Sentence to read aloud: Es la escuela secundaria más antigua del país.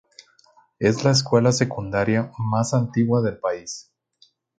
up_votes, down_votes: 0, 2